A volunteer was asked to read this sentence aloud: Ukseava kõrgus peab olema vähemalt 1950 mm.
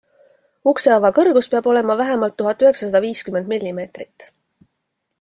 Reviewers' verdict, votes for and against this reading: rejected, 0, 2